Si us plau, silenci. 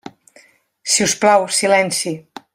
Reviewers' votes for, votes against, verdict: 3, 0, accepted